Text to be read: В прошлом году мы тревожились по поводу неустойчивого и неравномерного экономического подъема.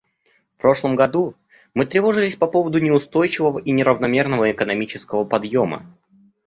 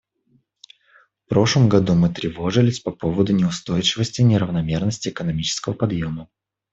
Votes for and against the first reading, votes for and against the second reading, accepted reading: 2, 0, 0, 2, first